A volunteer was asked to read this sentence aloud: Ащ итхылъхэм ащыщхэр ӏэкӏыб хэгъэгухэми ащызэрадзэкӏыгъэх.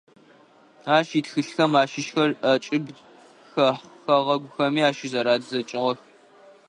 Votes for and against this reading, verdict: 1, 2, rejected